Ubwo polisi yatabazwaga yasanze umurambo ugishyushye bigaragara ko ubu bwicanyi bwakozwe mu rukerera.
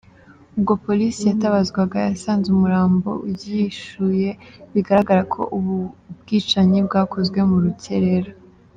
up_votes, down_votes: 1, 2